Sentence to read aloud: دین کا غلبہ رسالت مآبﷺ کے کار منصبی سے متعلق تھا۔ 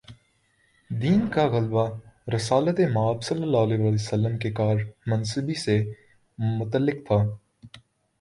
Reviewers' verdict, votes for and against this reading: accepted, 2, 0